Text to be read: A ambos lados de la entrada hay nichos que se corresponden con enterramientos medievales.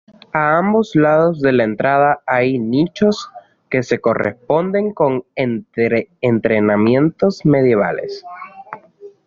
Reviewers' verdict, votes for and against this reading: rejected, 1, 2